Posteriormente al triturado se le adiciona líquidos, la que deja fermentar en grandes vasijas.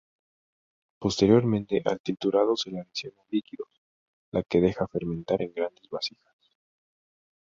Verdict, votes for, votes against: rejected, 0, 2